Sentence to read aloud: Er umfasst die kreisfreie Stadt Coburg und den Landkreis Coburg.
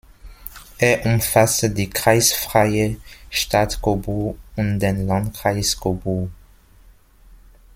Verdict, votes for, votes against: rejected, 1, 2